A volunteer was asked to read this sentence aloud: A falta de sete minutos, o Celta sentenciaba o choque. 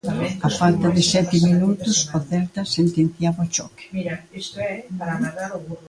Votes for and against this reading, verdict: 2, 1, accepted